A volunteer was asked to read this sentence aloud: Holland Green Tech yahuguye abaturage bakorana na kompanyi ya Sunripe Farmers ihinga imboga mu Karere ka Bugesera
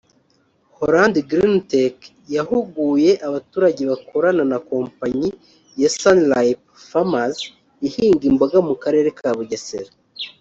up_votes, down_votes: 1, 2